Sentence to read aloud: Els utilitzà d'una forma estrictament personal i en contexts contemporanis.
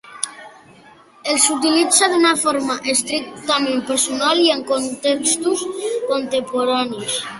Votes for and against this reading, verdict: 0, 2, rejected